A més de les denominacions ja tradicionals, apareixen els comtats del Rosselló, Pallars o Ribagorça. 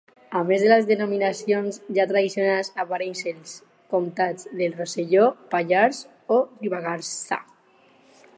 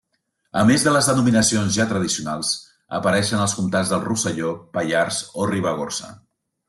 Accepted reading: second